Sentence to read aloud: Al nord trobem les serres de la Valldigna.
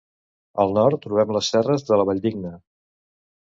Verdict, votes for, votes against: accepted, 2, 0